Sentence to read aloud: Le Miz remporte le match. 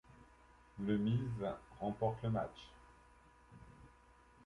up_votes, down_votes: 2, 0